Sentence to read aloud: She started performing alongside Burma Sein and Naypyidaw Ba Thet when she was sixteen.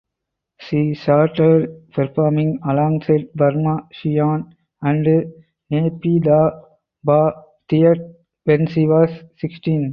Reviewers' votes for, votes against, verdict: 4, 2, accepted